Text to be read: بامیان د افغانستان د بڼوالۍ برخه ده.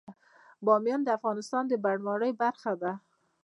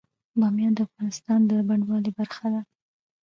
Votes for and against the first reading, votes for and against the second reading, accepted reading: 2, 0, 1, 2, first